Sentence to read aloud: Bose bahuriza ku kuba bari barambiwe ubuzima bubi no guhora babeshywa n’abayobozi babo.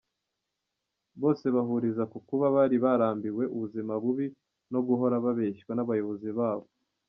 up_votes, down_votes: 2, 0